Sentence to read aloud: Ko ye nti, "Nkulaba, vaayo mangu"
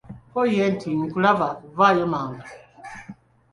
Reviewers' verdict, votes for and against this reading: accepted, 2, 0